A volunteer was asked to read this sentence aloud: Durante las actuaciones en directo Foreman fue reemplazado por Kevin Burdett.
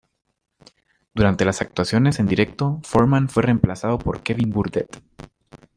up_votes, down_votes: 2, 0